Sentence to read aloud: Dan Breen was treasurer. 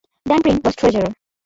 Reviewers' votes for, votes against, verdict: 0, 2, rejected